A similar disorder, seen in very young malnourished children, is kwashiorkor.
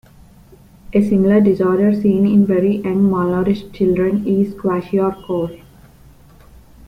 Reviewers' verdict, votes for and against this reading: rejected, 1, 2